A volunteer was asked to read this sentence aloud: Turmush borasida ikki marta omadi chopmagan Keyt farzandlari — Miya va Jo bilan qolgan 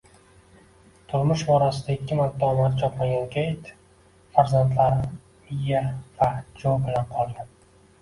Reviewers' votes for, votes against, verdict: 1, 2, rejected